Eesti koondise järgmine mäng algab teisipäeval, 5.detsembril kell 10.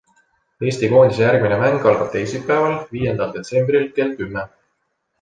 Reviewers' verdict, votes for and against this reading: rejected, 0, 2